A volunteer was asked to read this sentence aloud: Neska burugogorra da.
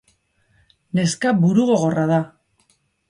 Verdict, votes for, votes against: accepted, 2, 0